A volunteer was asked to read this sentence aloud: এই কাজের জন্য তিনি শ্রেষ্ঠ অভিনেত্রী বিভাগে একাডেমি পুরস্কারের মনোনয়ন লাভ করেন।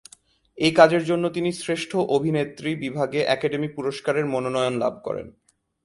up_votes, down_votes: 6, 1